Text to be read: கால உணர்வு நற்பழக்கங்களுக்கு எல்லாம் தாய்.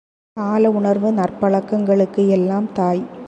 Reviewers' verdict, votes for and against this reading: accepted, 2, 0